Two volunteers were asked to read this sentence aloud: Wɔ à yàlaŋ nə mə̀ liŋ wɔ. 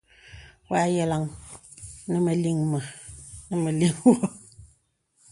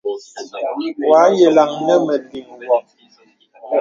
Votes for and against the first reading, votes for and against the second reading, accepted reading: 0, 2, 2, 0, second